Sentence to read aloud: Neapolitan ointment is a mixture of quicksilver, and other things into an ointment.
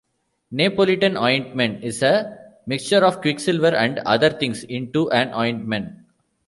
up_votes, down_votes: 0, 2